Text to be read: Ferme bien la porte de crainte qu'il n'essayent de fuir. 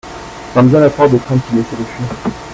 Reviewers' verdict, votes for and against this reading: accepted, 2, 1